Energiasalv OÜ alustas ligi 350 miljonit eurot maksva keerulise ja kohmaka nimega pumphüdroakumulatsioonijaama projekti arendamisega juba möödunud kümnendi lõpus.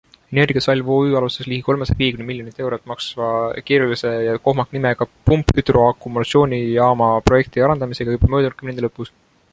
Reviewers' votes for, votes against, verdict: 0, 2, rejected